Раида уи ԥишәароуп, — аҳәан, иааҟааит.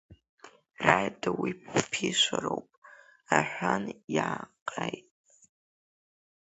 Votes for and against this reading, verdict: 0, 2, rejected